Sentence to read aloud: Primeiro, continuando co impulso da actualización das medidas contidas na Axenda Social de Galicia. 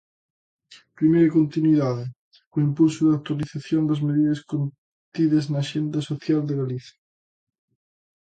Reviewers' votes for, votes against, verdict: 0, 2, rejected